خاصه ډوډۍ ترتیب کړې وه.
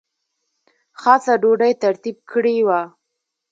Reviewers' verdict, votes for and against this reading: rejected, 0, 2